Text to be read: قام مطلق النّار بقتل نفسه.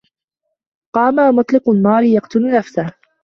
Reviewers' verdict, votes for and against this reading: rejected, 1, 2